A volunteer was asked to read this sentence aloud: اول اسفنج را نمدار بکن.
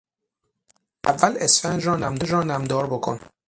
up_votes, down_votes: 0, 6